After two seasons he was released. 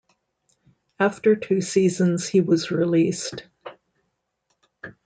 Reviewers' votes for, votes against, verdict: 2, 0, accepted